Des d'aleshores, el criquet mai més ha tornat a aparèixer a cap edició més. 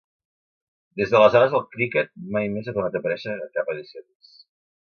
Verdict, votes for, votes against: rejected, 1, 2